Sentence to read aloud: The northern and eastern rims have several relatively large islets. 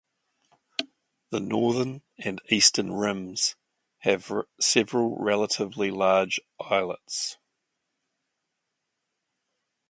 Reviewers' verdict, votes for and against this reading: rejected, 0, 2